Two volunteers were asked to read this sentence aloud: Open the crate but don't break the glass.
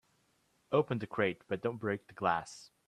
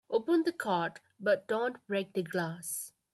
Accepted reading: first